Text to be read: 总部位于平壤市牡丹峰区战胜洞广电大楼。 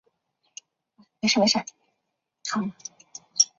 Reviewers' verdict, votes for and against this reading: accepted, 2, 0